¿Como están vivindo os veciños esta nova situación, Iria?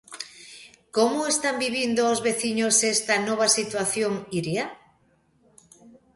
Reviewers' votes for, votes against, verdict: 2, 0, accepted